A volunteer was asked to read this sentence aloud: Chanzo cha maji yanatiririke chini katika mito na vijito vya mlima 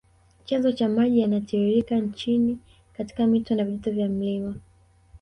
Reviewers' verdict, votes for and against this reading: rejected, 1, 2